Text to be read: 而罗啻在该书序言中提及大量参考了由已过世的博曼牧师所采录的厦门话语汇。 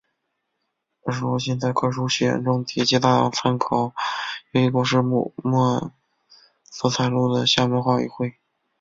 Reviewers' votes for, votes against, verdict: 0, 2, rejected